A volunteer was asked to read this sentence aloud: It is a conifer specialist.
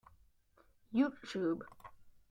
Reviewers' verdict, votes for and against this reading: rejected, 0, 2